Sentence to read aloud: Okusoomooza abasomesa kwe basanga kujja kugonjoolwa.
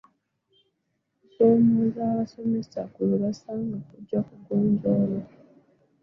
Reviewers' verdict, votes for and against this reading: rejected, 0, 2